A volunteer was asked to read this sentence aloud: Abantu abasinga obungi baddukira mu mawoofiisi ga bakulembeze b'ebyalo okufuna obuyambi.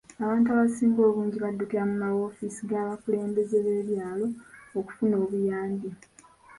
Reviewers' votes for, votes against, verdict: 1, 2, rejected